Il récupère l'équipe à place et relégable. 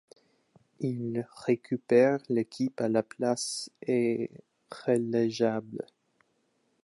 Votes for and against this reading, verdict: 0, 2, rejected